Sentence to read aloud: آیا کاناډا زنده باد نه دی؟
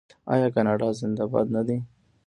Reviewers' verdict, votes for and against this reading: accepted, 2, 0